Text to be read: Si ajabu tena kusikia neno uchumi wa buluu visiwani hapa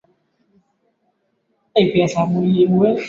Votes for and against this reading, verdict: 3, 11, rejected